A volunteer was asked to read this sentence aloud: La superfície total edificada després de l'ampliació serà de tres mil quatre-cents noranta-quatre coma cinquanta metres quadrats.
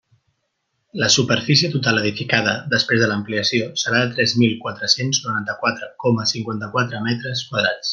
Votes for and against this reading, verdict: 1, 2, rejected